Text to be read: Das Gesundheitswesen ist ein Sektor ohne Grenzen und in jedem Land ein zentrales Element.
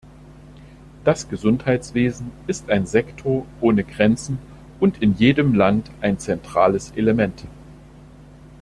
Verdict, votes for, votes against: accepted, 2, 0